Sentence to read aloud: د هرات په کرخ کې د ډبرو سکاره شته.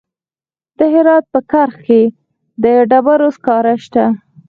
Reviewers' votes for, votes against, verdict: 2, 4, rejected